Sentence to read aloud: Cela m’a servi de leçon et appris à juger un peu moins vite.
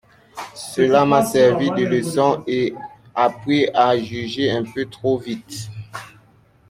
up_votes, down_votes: 0, 2